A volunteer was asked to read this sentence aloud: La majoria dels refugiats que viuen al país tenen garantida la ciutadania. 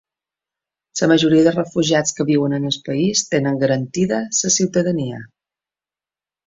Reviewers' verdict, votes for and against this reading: rejected, 0, 2